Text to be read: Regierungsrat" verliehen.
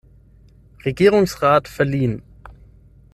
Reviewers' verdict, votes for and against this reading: accepted, 6, 0